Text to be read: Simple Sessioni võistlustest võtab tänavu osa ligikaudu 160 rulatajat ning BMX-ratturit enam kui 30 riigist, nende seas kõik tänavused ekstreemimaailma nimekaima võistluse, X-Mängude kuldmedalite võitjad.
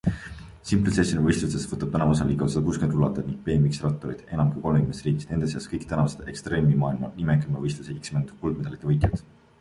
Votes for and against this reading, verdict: 0, 2, rejected